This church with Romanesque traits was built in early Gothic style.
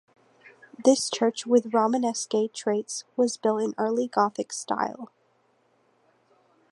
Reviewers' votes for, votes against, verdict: 2, 0, accepted